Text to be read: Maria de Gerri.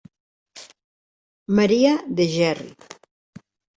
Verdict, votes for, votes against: rejected, 1, 2